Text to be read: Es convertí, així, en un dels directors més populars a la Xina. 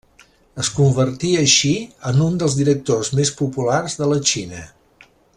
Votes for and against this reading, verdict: 1, 2, rejected